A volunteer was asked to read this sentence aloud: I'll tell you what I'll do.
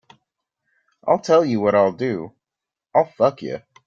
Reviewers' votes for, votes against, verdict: 0, 2, rejected